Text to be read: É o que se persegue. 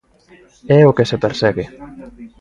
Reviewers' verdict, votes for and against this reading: accepted, 2, 1